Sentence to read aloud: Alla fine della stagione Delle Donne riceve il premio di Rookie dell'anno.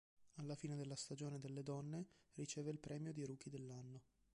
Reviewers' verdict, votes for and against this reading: rejected, 0, 2